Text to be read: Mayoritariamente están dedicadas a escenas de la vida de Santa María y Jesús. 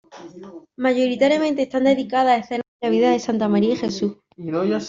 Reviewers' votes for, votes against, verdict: 1, 2, rejected